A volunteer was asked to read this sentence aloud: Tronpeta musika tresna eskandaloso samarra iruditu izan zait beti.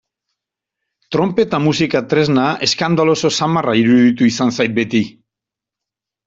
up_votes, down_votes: 2, 0